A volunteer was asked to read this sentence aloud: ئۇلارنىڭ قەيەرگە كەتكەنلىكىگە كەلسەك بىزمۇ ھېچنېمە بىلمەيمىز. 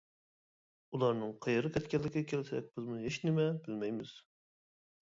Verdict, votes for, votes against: rejected, 1, 2